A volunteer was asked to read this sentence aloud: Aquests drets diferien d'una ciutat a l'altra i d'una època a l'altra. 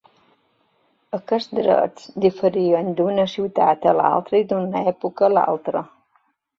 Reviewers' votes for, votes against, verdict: 2, 1, accepted